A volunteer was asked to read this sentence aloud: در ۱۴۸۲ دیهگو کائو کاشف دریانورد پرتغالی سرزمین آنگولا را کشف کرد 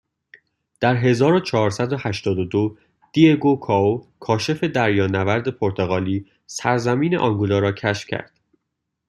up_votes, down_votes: 0, 2